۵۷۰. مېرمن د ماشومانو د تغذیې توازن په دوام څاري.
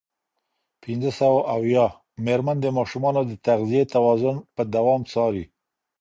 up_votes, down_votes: 0, 2